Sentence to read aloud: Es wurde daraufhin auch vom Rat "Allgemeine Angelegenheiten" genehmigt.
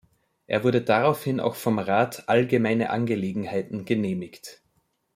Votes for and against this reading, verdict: 0, 2, rejected